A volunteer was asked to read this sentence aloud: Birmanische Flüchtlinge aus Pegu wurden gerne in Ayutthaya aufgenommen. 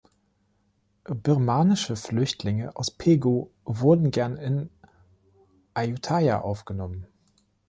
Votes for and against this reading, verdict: 0, 2, rejected